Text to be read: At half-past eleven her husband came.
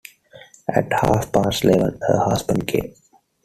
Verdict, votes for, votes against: accepted, 2, 1